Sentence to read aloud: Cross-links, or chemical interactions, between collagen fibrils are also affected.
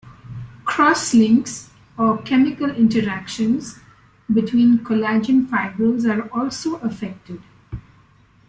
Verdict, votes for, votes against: rejected, 0, 2